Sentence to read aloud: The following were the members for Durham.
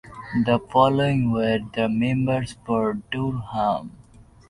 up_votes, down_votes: 0, 2